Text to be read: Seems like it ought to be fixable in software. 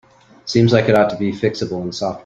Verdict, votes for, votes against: rejected, 0, 2